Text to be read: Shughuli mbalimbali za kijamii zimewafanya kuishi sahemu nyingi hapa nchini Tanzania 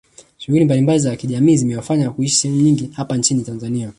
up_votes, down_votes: 1, 2